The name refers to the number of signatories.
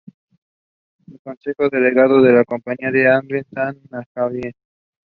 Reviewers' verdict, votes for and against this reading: rejected, 0, 2